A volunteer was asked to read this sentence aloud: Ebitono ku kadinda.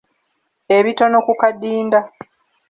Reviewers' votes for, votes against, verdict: 2, 0, accepted